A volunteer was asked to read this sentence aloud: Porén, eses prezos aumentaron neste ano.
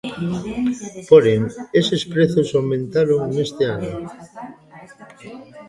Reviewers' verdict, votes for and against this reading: rejected, 0, 2